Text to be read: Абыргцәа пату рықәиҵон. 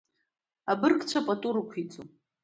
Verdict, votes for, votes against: accepted, 2, 0